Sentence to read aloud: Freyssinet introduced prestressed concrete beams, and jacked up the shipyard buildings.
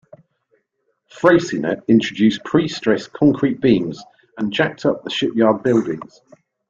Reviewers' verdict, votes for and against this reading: rejected, 0, 2